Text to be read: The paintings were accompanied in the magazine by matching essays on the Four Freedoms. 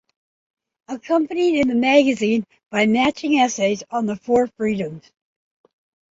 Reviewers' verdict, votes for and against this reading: rejected, 0, 2